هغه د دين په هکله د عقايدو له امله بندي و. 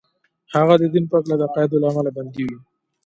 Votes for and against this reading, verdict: 2, 0, accepted